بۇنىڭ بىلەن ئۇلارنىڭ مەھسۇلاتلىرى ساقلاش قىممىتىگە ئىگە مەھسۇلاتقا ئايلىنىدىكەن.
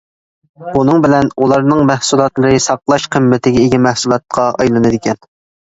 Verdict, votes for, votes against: accepted, 2, 0